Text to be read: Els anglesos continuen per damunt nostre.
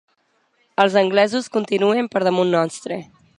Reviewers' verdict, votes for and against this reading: accepted, 2, 0